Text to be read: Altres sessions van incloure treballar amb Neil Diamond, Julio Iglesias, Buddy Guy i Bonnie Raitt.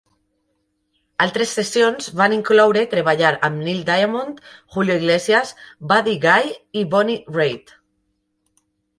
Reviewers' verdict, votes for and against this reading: rejected, 0, 2